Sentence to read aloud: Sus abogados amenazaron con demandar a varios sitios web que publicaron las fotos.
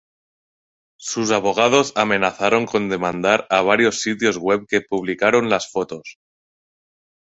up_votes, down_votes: 2, 0